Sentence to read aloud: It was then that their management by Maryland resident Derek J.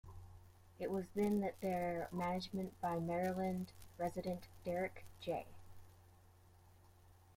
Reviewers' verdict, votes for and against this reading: rejected, 1, 2